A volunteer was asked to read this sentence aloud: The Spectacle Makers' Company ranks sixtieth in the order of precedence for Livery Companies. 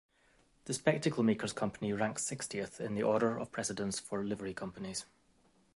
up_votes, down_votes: 2, 0